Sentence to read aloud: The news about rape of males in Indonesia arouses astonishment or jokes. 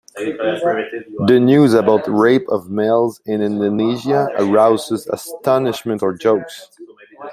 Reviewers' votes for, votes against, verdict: 0, 2, rejected